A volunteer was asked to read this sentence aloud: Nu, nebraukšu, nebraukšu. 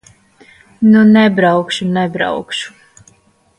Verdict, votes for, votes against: accepted, 2, 1